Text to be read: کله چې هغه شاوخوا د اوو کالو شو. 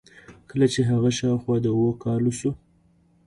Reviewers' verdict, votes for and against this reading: accepted, 2, 1